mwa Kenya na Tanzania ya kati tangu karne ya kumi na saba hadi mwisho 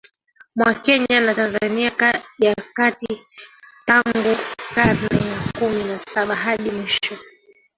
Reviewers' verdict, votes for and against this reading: rejected, 0, 3